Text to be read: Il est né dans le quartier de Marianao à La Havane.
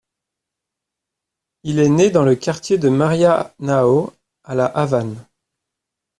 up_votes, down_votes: 1, 2